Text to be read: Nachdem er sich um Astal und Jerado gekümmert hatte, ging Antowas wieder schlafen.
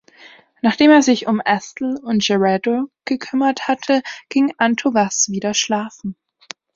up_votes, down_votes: 2, 0